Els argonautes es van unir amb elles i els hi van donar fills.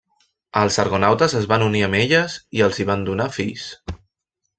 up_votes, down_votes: 3, 0